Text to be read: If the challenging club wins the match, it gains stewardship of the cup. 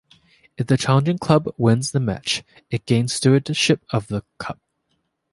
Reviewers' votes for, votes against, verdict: 2, 0, accepted